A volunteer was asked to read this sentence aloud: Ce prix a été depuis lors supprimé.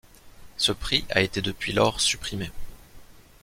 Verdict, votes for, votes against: accepted, 2, 0